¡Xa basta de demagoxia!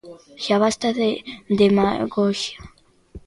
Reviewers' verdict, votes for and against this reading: accepted, 2, 0